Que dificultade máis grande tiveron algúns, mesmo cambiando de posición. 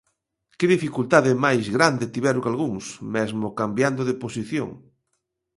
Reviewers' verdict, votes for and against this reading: accepted, 2, 0